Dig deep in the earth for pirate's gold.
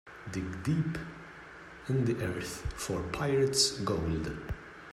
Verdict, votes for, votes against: accepted, 2, 0